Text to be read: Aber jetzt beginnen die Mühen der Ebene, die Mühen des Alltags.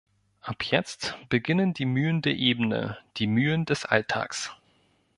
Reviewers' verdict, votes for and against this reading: rejected, 0, 2